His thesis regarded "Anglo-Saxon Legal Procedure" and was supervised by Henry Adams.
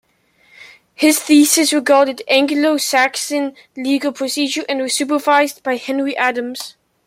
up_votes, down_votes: 2, 0